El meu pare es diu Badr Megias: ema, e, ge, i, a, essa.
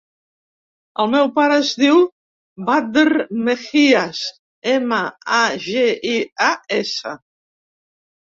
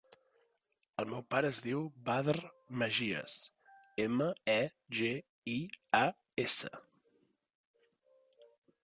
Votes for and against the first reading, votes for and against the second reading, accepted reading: 0, 2, 2, 0, second